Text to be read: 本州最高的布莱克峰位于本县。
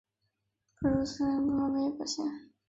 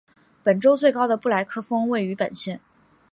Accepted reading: second